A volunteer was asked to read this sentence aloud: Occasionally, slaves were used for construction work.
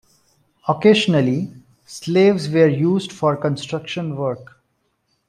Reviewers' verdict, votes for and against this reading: accepted, 2, 0